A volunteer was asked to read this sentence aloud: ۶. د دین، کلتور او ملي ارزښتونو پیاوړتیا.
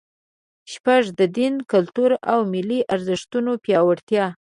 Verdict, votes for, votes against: rejected, 0, 2